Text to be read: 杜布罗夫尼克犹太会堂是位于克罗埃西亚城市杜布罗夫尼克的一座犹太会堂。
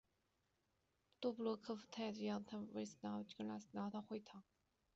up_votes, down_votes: 1, 2